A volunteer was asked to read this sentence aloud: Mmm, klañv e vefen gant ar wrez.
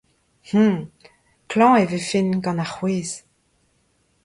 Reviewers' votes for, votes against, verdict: 1, 2, rejected